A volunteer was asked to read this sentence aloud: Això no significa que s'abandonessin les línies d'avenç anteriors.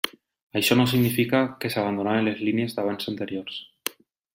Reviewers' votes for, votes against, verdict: 0, 2, rejected